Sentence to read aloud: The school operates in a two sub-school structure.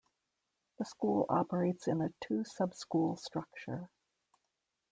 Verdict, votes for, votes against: accepted, 2, 1